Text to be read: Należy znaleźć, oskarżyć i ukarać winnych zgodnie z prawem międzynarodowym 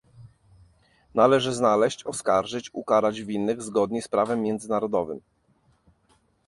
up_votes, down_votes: 1, 2